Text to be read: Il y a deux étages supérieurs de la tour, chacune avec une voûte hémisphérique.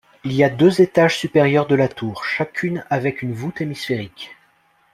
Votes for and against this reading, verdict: 2, 0, accepted